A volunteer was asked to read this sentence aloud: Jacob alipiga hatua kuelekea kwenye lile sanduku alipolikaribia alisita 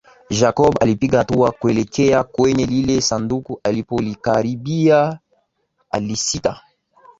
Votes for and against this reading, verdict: 9, 3, accepted